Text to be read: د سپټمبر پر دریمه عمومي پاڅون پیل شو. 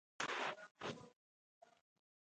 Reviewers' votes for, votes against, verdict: 2, 0, accepted